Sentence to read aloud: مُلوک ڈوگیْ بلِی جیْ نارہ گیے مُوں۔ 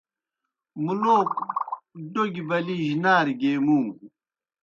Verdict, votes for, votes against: accepted, 2, 0